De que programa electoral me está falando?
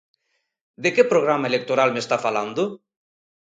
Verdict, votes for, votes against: accepted, 2, 0